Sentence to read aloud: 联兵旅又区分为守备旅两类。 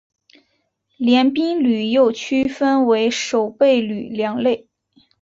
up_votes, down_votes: 2, 0